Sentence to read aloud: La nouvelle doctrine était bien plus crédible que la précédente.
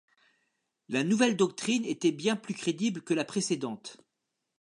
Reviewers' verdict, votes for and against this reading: accepted, 2, 0